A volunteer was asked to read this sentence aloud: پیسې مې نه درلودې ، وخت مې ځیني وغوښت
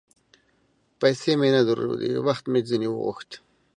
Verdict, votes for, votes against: accepted, 2, 0